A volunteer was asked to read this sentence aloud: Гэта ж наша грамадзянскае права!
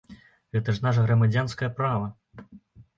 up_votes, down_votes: 2, 0